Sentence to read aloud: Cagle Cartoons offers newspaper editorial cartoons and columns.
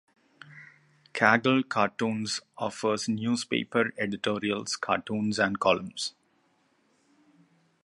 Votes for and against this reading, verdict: 2, 0, accepted